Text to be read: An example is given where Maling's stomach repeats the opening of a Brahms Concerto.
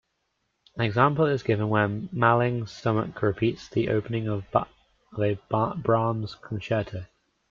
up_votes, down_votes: 0, 2